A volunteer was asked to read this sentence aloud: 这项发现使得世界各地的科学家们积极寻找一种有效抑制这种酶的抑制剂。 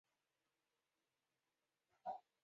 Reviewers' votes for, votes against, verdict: 3, 6, rejected